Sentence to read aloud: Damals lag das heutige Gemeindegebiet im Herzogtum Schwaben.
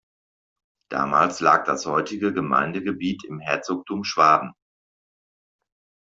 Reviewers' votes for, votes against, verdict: 2, 0, accepted